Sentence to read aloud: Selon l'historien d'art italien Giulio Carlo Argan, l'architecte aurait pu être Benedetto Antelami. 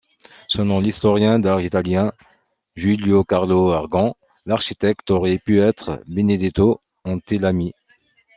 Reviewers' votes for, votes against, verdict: 2, 0, accepted